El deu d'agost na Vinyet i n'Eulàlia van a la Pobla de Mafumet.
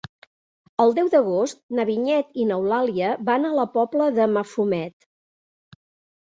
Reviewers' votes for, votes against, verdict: 3, 0, accepted